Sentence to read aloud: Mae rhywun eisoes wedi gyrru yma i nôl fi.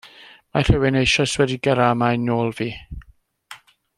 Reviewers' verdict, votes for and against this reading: rejected, 1, 2